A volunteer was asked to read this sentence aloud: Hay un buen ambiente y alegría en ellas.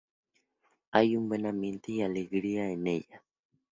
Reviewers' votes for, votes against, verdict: 2, 0, accepted